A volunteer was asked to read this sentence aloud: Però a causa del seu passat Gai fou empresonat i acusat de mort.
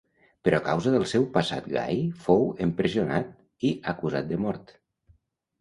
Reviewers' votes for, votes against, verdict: 1, 2, rejected